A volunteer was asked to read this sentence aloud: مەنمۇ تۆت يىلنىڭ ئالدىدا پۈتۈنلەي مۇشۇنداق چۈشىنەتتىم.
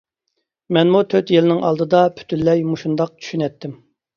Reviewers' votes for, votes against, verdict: 2, 0, accepted